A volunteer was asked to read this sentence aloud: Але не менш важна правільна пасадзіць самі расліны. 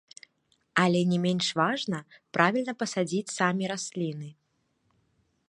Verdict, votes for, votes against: accepted, 2, 0